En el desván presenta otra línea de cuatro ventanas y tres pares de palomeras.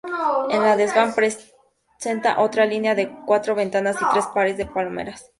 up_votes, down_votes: 0, 2